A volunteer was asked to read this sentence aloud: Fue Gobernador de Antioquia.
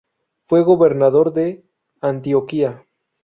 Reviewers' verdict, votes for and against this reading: accepted, 2, 0